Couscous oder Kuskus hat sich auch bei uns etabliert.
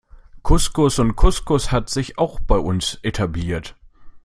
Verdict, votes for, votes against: rejected, 0, 2